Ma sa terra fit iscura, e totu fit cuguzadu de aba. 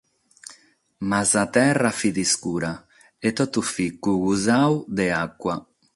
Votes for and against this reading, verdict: 6, 0, accepted